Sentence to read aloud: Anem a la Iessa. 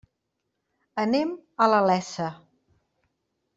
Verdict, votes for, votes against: rejected, 1, 2